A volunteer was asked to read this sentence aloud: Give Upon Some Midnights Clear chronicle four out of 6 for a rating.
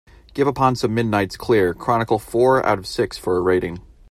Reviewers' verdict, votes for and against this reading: rejected, 0, 2